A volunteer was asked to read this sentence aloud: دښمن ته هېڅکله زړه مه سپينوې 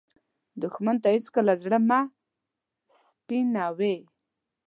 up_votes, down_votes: 2, 1